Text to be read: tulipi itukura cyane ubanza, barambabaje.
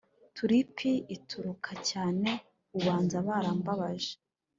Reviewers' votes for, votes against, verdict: 2, 0, accepted